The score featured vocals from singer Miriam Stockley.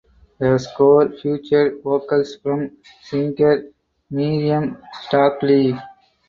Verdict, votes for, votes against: accepted, 4, 0